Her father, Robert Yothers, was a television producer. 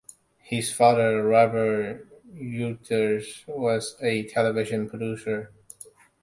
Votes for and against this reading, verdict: 0, 2, rejected